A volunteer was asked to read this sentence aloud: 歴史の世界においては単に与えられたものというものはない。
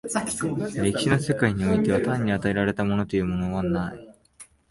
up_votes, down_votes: 0, 2